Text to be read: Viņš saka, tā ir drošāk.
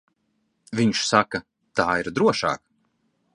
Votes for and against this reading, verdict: 2, 0, accepted